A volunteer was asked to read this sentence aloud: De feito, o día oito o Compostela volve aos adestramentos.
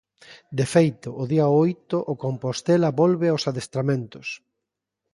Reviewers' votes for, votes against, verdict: 3, 0, accepted